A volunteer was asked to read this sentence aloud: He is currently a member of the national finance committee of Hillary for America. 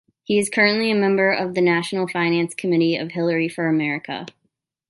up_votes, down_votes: 2, 0